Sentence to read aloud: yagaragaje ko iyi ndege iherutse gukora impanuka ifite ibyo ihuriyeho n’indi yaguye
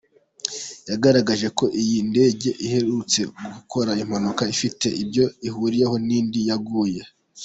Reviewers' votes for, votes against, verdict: 2, 1, accepted